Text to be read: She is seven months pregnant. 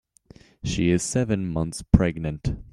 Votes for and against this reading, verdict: 2, 0, accepted